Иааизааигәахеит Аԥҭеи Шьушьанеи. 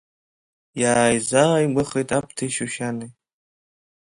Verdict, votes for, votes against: accepted, 2, 0